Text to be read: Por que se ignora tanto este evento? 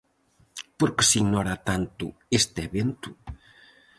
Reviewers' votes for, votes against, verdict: 4, 0, accepted